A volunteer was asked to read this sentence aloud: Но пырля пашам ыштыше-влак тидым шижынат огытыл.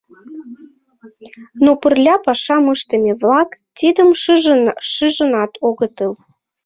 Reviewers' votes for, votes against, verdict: 0, 2, rejected